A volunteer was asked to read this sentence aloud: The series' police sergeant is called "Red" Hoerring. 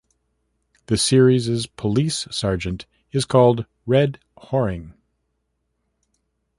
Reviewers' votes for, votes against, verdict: 2, 0, accepted